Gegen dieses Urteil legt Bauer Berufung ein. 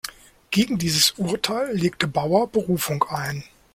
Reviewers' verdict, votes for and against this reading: rejected, 0, 2